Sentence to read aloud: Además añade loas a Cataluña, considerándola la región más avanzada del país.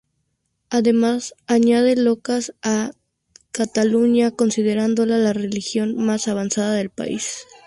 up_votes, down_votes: 0, 2